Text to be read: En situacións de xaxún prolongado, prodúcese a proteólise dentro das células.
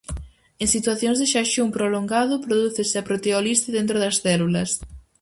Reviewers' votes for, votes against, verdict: 0, 4, rejected